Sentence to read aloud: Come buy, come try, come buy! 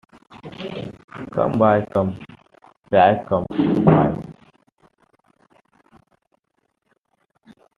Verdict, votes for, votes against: rejected, 1, 2